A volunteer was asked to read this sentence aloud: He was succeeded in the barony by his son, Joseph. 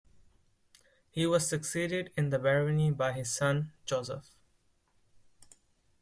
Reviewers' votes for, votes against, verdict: 2, 0, accepted